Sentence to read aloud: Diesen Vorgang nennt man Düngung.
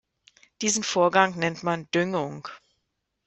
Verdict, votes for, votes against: accepted, 2, 0